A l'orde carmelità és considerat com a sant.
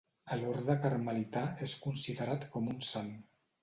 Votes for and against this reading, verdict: 0, 2, rejected